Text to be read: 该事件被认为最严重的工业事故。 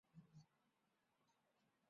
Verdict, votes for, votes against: rejected, 1, 2